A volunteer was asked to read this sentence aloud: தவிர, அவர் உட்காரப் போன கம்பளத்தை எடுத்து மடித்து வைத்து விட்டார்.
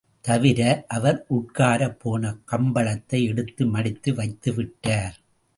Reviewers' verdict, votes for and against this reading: accepted, 2, 0